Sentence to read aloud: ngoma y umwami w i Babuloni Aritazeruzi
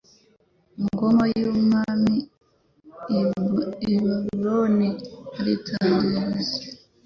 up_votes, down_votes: 1, 2